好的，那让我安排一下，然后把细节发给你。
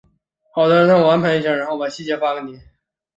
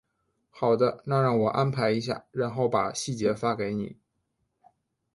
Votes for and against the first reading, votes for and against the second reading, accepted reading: 2, 2, 2, 0, second